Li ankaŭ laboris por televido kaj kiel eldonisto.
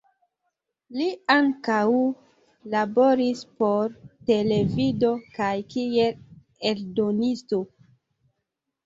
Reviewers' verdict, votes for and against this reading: accepted, 2, 1